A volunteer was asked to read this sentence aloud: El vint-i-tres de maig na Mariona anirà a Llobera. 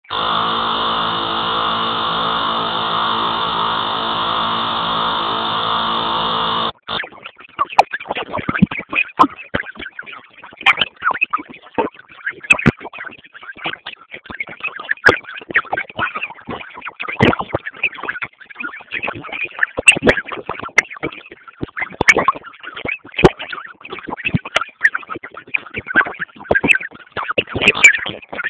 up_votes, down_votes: 0, 6